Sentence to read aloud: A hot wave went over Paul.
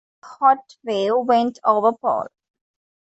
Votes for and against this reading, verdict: 0, 2, rejected